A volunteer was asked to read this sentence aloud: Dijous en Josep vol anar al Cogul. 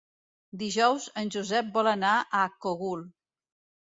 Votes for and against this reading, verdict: 1, 2, rejected